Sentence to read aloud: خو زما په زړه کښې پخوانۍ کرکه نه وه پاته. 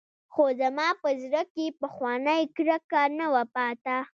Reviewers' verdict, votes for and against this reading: rejected, 1, 2